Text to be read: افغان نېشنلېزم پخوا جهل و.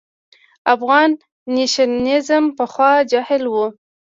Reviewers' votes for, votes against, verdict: 0, 2, rejected